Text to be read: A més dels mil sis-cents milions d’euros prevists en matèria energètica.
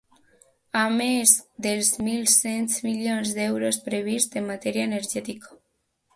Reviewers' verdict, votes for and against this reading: rejected, 1, 2